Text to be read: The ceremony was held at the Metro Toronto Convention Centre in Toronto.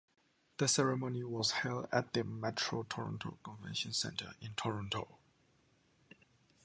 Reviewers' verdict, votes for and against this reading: accepted, 2, 0